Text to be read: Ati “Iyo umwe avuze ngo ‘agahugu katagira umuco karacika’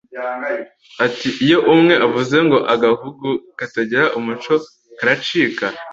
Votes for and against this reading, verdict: 2, 0, accepted